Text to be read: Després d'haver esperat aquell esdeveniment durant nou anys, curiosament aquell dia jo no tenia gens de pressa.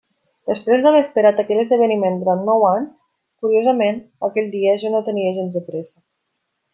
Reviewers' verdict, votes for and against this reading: accepted, 2, 0